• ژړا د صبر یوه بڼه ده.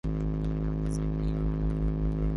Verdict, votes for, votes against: rejected, 1, 2